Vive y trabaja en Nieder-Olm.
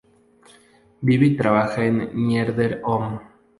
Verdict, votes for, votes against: accepted, 2, 0